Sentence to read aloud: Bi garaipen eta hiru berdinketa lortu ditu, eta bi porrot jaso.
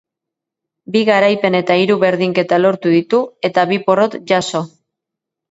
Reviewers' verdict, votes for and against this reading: accepted, 2, 0